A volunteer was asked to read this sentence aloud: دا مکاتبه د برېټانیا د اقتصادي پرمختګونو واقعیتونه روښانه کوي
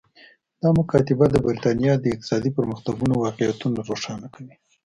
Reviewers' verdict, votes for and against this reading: accepted, 2, 0